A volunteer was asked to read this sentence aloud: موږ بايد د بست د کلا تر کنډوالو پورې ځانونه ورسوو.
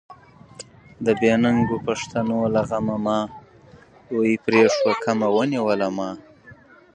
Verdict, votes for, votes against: rejected, 0, 3